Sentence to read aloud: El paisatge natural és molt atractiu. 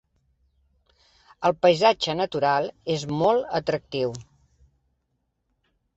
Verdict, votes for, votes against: accepted, 3, 0